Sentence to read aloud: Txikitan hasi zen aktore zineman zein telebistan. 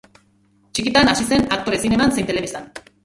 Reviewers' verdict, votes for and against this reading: rejected, 0, 3